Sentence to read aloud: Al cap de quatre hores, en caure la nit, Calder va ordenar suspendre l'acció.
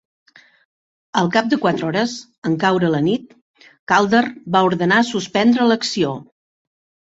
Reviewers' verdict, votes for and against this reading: accepted, 3, 0